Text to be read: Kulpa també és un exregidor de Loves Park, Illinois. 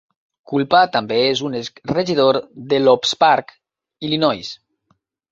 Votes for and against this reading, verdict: 1, 2, rejected